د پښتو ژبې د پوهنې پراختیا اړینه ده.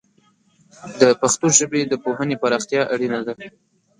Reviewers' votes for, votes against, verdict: 1, 2, rejected